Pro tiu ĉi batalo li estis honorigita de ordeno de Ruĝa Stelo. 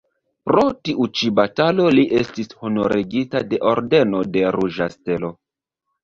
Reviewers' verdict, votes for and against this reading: rejected, 1, 2